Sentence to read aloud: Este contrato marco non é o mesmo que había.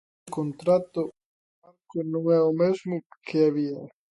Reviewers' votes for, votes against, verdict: 1, 2, rejected